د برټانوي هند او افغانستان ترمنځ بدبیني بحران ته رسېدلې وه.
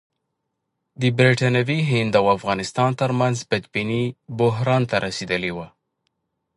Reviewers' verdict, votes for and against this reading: accepted, 3, 1